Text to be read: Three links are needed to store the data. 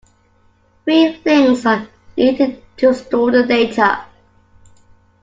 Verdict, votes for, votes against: accepted, 2, 1